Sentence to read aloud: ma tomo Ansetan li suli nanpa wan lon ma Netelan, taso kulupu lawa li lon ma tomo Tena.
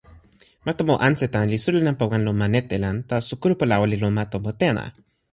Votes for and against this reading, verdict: 2, 0, accepted